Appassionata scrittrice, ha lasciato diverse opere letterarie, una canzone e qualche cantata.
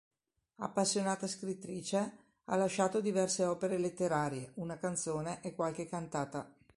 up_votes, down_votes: 4, 0